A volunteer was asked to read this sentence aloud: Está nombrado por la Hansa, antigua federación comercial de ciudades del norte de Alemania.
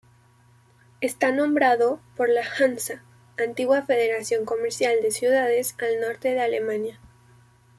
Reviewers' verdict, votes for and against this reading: rejected, 0, 2